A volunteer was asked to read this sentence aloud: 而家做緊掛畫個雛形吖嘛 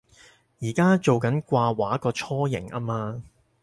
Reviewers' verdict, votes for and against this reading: accepted, 4, 0